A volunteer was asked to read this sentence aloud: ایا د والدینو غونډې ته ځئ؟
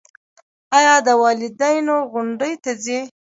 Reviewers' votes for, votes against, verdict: 1, 2, rejected